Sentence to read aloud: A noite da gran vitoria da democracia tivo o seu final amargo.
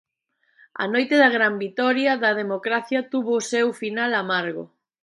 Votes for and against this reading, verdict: 0, 2, rejected